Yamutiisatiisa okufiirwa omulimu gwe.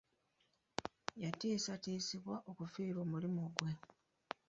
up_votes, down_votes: 0, 2